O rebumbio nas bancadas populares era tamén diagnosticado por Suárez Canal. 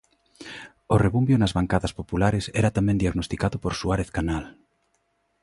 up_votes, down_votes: 2, 0